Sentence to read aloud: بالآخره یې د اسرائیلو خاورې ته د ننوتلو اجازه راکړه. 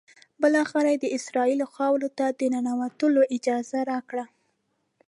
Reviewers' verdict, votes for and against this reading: accepted, 2, 0